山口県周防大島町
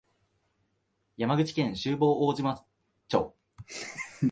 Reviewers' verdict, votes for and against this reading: rejected, 1, 2